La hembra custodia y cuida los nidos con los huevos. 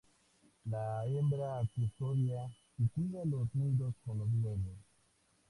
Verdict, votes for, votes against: accepted, 2, 0